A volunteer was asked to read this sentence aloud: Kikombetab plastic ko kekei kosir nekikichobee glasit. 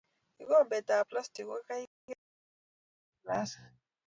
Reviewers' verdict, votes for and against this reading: rejected, 0, 2